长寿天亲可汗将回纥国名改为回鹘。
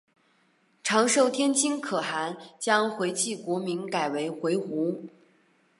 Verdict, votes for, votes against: accepted, 4, 0